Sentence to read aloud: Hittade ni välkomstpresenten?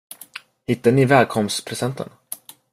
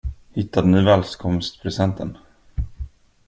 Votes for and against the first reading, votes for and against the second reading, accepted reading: 2, 0, 0, 2, first